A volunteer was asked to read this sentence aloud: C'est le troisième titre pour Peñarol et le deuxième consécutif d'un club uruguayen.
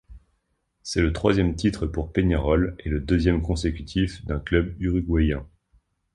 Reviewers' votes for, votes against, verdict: 2, 0, accepted